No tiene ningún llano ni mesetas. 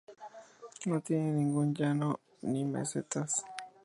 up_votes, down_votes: 2, 0